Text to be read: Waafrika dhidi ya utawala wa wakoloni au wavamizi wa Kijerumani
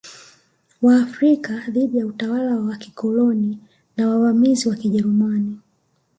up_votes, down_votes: 2, 0